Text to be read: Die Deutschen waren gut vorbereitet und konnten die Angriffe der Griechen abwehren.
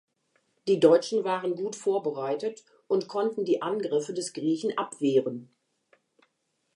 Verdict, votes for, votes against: rejected, 0, 2